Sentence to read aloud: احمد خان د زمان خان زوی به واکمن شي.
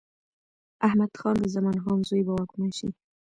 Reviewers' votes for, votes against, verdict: 2, 0, accepted